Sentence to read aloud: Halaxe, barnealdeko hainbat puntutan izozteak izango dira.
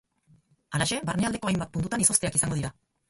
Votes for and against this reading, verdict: 4, 4, rejected